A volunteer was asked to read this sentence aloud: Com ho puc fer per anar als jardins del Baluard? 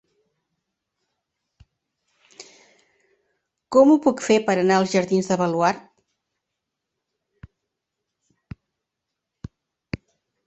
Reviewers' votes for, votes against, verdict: 1, 2, rejected